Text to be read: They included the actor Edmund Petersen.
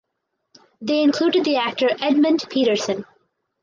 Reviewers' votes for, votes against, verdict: 4, 0, accepted